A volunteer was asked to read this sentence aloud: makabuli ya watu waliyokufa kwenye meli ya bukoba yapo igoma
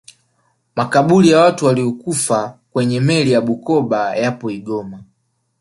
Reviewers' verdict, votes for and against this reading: accepted, 4, 0